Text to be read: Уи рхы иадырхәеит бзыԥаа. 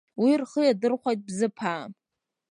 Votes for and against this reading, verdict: 2, 0, accepted